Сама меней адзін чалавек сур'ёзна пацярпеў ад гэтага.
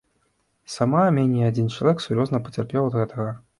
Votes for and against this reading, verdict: 1, 2, rejected